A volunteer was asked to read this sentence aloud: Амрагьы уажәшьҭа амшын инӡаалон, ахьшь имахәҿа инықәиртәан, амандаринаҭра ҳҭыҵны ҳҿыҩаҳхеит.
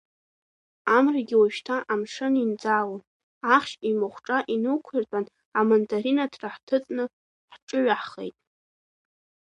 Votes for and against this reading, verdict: 3, 0, accepted